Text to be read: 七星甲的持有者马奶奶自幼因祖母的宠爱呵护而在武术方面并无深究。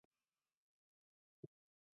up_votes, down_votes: 0, 2